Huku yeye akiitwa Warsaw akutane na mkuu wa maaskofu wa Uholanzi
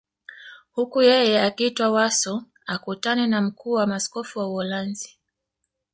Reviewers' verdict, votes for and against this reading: accepted, 2, 1